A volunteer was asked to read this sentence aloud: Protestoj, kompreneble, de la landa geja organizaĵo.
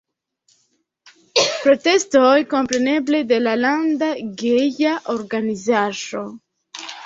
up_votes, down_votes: 1, 2